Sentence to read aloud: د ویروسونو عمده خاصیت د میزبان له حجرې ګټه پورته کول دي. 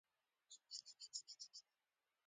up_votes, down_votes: 0, 2